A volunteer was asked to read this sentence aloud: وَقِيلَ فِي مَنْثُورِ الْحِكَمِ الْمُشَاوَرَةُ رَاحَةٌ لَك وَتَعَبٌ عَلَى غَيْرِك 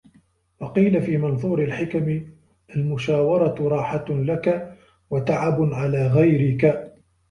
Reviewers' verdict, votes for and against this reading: accepted, 2, 0